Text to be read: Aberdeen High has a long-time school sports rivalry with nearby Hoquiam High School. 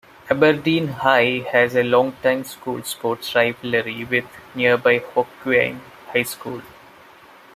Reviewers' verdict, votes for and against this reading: rejected, 1, 2